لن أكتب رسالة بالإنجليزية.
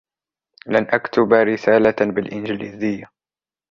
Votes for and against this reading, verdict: 2, 0, accepted